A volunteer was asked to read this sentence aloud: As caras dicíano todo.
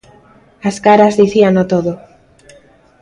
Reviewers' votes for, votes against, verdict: 2, 0, accepted